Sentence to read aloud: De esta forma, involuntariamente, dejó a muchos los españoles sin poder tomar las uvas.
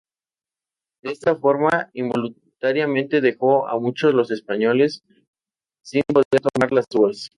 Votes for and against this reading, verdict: 0, 2, rejected